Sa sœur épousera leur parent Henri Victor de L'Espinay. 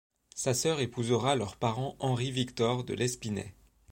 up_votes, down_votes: 2, 0